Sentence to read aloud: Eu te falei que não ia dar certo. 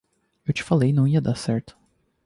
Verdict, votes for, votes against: rejected, 0, 2